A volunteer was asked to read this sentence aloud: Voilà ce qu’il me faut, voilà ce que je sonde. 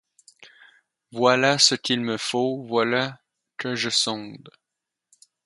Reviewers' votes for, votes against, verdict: 0, 4, rejected